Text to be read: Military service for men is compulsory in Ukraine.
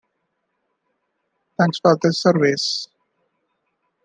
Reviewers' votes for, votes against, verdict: 0, 2, rejected